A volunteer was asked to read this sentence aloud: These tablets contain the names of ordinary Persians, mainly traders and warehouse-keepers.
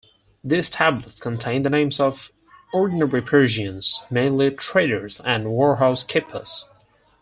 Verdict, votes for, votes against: rejected, 2, 4